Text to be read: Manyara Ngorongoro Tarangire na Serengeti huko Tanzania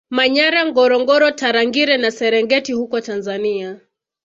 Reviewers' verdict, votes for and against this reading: accepted, 2, 0